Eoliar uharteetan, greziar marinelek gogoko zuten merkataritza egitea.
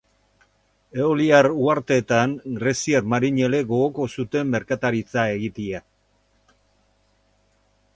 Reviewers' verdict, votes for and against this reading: rejected, 2, 4